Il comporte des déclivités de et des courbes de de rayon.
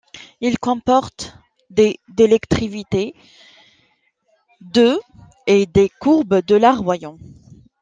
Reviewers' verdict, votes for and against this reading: rejected, 0, 2